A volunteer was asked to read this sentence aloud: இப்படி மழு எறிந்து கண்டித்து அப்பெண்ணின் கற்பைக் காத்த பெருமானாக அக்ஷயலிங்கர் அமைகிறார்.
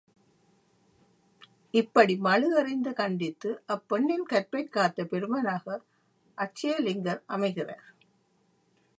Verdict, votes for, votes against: rejected, 0, 2